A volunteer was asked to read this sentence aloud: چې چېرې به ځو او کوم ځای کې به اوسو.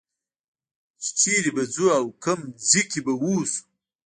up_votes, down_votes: 1, 2